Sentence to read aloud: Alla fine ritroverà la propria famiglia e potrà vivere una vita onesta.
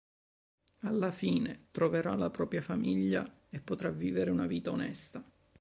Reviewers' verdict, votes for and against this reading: rejected, 1, 2